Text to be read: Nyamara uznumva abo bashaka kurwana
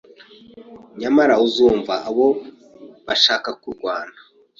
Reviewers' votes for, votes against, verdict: 1, 3, rejected